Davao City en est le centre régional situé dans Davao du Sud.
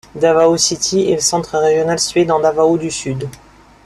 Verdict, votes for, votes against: accepted, 2, 1